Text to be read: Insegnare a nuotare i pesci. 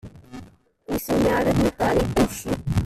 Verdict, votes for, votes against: rejected, 0, 2